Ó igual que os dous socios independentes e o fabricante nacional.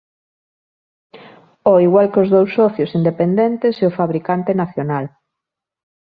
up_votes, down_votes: 0, 2